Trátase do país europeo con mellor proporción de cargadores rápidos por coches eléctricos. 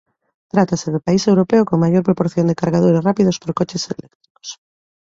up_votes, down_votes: 1, 2